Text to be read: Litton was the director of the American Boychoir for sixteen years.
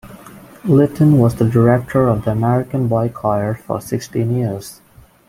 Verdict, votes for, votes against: rejected, 1, 2